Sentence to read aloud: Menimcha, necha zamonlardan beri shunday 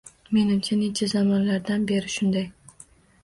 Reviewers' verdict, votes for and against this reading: accepted, 2, 0